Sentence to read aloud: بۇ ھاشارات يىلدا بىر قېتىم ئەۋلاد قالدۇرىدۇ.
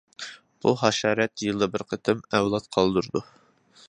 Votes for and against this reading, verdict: 2, 0, accepted